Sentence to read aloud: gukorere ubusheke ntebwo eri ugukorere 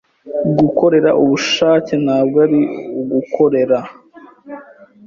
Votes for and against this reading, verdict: 0, 2, rejected